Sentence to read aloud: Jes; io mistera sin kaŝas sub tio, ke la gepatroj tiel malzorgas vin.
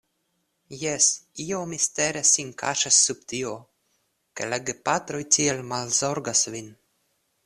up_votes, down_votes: 2, 0